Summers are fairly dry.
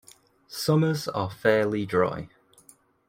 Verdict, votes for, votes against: accepted, 2, 0